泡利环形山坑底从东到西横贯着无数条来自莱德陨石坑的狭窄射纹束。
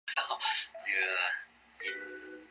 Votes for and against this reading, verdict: 0, 2, rejected